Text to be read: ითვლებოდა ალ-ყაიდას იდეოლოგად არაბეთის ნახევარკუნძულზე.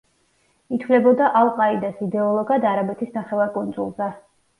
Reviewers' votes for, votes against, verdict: 2, 0, accepted